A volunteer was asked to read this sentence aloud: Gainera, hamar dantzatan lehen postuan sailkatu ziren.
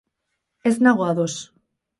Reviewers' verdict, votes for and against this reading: rejected, 0, 4